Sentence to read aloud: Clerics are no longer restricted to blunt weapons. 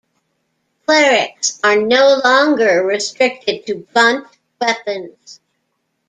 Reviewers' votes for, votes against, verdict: 1, 2, rejected